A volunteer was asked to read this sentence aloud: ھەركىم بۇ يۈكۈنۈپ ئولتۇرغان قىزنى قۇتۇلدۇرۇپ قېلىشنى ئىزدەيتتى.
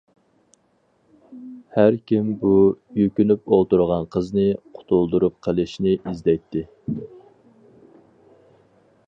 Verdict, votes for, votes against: accepted, 4, 0